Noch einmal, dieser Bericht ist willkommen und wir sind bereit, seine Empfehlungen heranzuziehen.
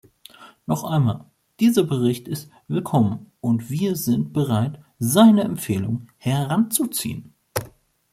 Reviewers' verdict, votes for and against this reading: rejected, 0, 2